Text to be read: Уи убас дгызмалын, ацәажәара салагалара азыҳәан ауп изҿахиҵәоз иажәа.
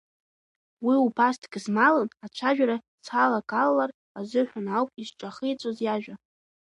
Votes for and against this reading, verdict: 0, 2, rejected